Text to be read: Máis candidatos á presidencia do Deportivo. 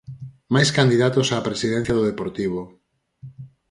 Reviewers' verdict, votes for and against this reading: accepted, 4, 0